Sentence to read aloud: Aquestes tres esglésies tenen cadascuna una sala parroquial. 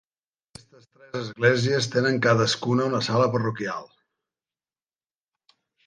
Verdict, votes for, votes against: rejected, 0, 2